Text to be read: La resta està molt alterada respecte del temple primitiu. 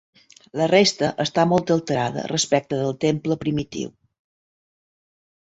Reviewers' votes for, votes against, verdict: 3, 0, accepted